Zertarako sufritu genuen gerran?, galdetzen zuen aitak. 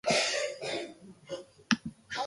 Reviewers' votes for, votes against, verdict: 0, 2, rejected